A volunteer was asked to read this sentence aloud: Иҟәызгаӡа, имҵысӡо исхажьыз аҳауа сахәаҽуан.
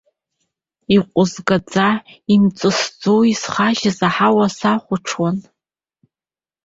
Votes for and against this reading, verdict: 2, 0, accepted